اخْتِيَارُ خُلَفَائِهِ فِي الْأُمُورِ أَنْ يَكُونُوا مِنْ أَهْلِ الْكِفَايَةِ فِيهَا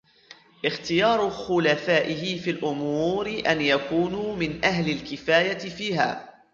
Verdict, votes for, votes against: rejected, 1, 2